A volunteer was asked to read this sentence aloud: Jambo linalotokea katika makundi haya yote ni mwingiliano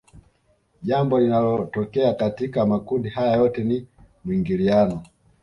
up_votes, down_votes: 3, 0